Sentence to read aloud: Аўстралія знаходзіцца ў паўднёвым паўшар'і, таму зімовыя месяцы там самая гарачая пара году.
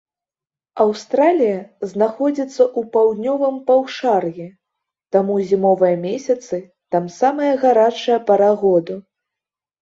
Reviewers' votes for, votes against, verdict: 3, 0, accepted